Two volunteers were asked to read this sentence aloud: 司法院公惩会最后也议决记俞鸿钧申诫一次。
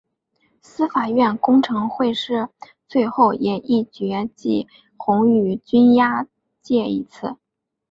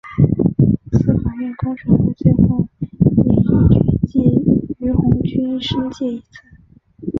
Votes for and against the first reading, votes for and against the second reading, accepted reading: 5, 0, 1, 3, first